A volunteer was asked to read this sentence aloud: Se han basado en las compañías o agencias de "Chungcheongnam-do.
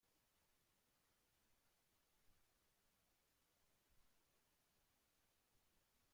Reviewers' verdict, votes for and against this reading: rejected, 0, 2